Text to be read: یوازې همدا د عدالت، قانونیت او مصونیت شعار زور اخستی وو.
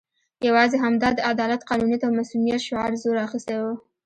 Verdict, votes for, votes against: accepted, 3, 0